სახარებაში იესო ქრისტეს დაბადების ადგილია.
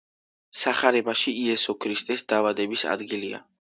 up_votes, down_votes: 2, 0